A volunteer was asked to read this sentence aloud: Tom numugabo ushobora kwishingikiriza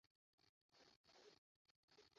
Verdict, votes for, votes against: rejected, 0, 2